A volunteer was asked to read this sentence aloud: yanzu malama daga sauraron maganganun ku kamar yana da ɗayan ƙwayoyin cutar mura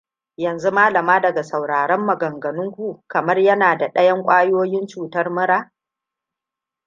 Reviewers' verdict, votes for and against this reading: accepted, 2, 1